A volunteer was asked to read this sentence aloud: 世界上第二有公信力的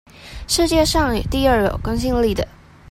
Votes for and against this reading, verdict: 1, 2, rejected